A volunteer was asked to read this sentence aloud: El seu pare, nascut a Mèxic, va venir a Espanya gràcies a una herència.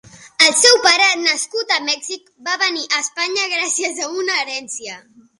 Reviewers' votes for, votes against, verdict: 2, 0, accepted